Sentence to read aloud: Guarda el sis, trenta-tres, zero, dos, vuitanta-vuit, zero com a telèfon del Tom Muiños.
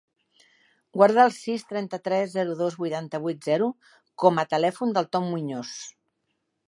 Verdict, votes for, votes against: rejected, 1, 2